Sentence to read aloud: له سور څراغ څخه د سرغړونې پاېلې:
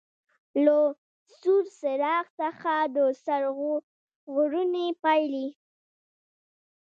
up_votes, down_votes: 0, 2